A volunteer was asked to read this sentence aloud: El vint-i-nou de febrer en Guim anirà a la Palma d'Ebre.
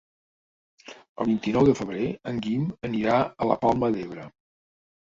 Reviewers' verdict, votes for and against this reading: accepted, 4, 1